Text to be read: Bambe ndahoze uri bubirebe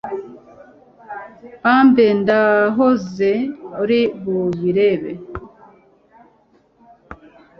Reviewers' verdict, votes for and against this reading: accepted, 2, 0